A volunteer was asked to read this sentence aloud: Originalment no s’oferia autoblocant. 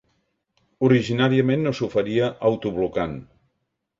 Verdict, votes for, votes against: rejected, 0, 2